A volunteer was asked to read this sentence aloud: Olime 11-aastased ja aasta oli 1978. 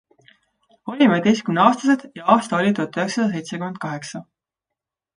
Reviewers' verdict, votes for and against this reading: rejected, 0, 2